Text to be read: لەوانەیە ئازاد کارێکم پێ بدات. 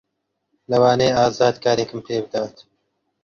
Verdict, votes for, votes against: accepted, 2, 0